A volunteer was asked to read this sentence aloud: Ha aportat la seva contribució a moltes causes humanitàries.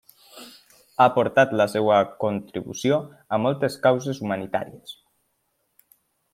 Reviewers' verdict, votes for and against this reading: accepted, 2, 0